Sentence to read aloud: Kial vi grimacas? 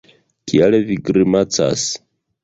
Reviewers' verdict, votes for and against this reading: rejected, 1, 2